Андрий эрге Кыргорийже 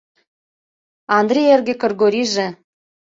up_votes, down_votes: 2, 0